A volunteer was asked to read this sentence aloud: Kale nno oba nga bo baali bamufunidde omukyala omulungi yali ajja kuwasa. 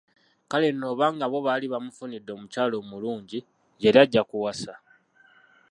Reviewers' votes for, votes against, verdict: 0, 2, rejected